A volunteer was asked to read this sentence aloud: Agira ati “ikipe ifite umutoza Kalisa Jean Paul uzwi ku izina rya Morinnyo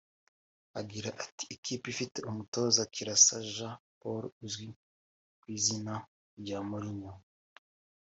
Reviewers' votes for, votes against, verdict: 2, 1, accepted